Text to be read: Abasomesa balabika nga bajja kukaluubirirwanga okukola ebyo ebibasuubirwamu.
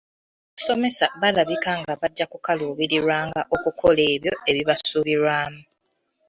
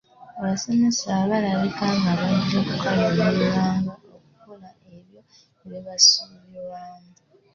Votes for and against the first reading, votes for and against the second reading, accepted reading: 2, 3, 2, 0, second